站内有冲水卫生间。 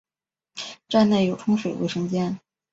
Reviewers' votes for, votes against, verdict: 2, 0, accepted